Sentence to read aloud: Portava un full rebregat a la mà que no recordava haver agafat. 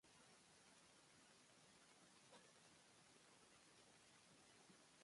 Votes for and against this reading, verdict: 0, 3, rejected